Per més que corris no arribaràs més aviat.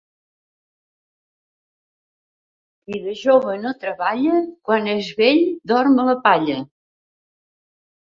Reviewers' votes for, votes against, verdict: 0, 2, rejected